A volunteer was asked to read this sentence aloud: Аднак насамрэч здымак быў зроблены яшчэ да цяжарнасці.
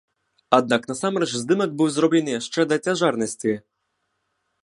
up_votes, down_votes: 2, 0